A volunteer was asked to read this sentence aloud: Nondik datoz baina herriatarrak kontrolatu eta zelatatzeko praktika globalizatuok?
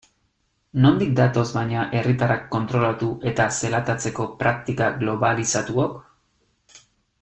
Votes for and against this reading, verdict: 3, 0, accepted